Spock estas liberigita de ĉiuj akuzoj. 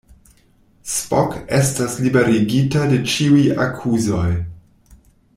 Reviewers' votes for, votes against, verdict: 2, 0, accepted